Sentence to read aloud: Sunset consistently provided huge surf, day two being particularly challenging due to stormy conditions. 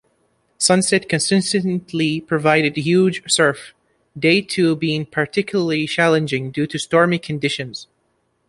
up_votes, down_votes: 1, 3